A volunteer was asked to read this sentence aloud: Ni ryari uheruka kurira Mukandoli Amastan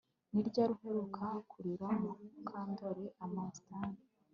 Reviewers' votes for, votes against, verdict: 2, 0, accepted